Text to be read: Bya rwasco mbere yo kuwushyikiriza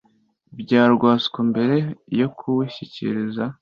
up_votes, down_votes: 2, 0